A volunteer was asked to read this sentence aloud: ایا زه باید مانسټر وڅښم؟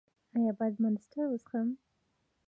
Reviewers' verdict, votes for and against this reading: rejected, 1, 2